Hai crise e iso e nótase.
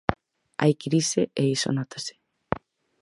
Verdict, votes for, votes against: rejected, 2, 4